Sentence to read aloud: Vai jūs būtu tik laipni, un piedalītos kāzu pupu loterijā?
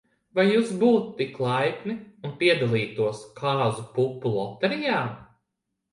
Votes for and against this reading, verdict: 2, 0, accepted